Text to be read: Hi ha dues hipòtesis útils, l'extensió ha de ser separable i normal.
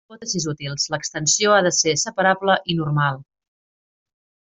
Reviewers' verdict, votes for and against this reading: rejected, 1, 2